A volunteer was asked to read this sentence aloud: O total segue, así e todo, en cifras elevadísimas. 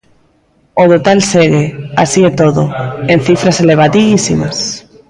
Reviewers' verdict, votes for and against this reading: rejected, 1, 2